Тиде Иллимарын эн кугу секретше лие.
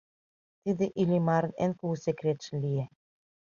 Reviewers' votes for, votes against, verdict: 2, 1, accepted